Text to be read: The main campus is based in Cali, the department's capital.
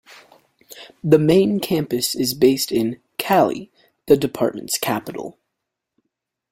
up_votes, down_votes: 2, 0